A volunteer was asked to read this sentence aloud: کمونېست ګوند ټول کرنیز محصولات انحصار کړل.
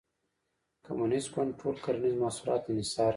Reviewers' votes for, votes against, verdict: 1, 2, rejected